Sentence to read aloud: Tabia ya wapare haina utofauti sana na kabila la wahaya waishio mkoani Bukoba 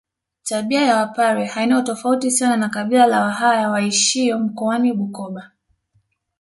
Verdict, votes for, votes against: accepted, 2, 0